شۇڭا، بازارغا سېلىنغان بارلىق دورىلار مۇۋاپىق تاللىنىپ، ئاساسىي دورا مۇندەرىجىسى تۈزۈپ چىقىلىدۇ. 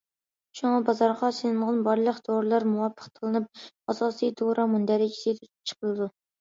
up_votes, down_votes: 1, 2